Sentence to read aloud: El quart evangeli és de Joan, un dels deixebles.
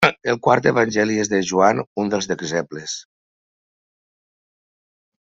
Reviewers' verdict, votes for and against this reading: rejected, 1, 2